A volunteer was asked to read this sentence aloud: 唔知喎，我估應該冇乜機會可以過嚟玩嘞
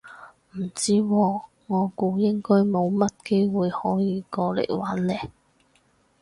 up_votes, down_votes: 2, 2